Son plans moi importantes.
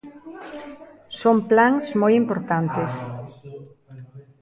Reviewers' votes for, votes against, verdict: 0, 2, rejected